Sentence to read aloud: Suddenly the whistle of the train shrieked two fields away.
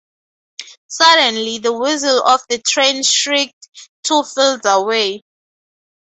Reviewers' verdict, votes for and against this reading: rejected, 2, 4